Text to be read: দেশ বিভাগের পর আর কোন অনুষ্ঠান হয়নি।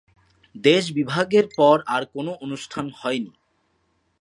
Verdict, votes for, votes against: accepted, 2, 0